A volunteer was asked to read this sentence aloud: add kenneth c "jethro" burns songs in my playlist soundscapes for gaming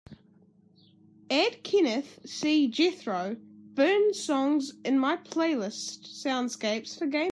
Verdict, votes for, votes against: rejected, 1, 2